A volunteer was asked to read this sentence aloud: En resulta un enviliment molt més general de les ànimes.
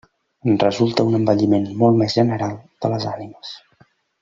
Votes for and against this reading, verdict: 0, 2, rejected